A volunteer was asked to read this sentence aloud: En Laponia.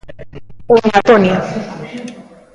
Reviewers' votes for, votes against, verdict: 0, 2, rejected